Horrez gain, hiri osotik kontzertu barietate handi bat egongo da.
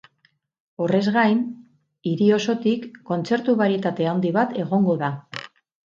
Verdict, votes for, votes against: rejected, 0, 4